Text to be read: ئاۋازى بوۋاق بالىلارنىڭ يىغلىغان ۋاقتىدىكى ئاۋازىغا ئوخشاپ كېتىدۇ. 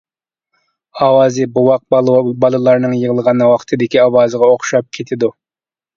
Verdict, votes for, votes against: rejected, 1, 2